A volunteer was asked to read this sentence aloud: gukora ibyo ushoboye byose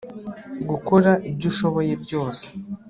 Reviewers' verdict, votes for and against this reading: accepted, 2, 0